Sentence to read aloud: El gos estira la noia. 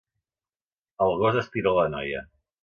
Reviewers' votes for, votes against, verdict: 2, 0, accepted